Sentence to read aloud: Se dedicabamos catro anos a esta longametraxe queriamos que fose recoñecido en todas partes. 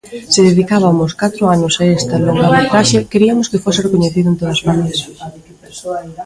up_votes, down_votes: 1, 2